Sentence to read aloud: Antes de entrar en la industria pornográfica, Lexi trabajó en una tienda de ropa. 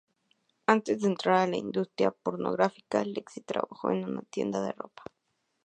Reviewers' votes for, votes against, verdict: 0, 2, rejected